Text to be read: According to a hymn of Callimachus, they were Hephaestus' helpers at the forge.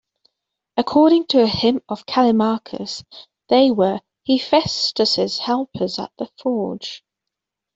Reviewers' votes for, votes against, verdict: 2, 0, accepted